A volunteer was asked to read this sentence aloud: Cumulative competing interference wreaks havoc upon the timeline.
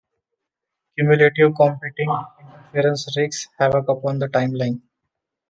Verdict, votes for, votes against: rejected, 0, 2